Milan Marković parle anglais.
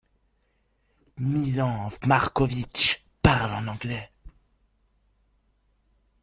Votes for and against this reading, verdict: 1, 2, rejected